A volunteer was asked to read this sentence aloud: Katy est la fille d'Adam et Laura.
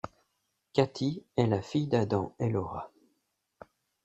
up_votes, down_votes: 2, 0